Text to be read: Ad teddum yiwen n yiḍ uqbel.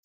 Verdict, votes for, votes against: rejected, 0, 2